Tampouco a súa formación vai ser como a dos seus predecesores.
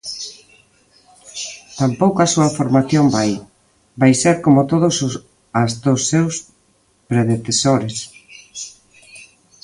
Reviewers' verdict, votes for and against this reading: rejected, 0, 2